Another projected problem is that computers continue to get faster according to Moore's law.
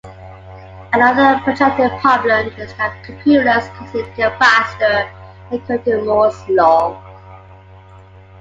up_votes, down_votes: 2, 1